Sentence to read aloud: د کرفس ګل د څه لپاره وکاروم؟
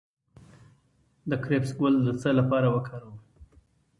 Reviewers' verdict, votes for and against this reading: rejected, 1, 2